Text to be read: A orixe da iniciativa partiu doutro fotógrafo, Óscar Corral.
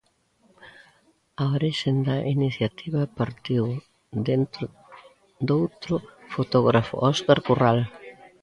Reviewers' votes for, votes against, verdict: 0, 2, rejected